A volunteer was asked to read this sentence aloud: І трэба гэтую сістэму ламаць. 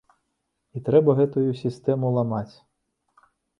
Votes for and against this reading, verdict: 2, 0, accepted